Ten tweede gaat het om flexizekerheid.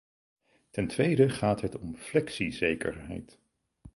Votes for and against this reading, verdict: 4, 0, accepted